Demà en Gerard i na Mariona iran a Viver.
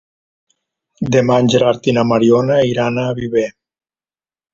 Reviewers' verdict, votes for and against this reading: accepted, 3, 0